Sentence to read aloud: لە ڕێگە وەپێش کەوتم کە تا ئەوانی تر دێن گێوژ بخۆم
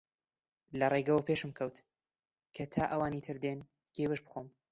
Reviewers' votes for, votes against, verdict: 0, 2, rejected